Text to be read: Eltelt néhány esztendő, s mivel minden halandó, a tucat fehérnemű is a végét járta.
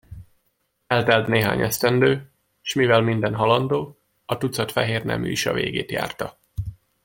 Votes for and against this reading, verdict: 2, 0, accepted